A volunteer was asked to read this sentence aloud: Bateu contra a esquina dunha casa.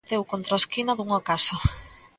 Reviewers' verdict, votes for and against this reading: rejected, 1, 2